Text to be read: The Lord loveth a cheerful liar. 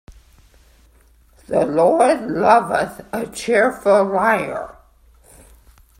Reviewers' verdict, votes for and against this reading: rejected, 1, 2